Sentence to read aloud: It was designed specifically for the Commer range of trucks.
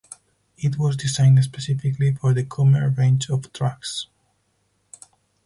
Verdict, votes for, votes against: rejected, 0, 4